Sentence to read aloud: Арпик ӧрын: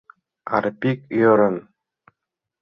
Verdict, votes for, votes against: accepted, 2, 0